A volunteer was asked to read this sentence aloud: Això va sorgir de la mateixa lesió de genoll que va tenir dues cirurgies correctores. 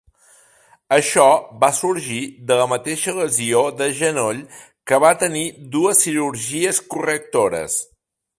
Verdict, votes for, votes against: accepted, 2, 0